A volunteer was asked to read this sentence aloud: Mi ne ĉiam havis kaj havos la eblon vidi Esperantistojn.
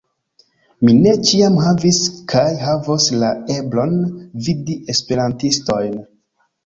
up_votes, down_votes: 3, 0